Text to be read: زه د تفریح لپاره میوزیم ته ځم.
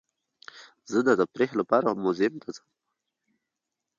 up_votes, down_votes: 2, 0